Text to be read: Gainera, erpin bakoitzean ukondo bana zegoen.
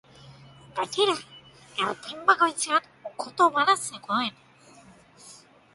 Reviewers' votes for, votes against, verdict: 0, 2, rejected